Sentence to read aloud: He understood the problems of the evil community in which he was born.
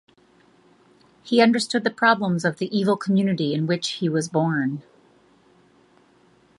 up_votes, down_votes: 2, 0